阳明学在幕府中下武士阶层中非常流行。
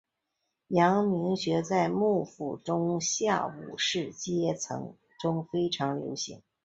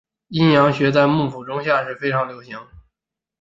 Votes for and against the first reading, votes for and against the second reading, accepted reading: 3, 0, 1, 4, first